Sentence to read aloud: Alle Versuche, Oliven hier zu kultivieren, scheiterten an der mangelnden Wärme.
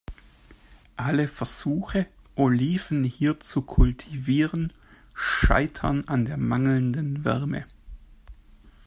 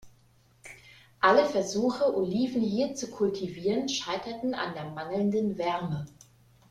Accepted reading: second